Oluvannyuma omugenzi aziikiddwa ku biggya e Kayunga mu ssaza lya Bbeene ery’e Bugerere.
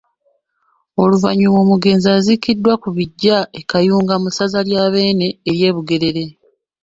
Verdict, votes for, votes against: accepted, 2, 0